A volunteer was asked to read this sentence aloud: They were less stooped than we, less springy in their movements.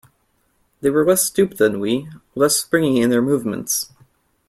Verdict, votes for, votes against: accepted, 2, 1